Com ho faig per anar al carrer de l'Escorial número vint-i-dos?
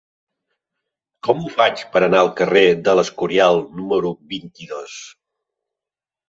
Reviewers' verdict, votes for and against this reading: accepted, 3, 0